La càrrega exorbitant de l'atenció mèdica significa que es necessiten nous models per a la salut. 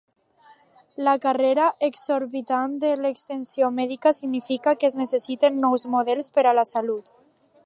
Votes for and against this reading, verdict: 1, 2, rejected